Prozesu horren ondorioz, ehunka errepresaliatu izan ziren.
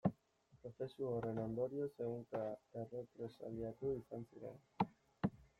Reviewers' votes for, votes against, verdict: 0, 2, rejected